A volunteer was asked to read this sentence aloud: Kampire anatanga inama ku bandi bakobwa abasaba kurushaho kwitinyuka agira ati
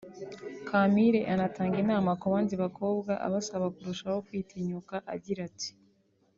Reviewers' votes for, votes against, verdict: 2, 0, accepted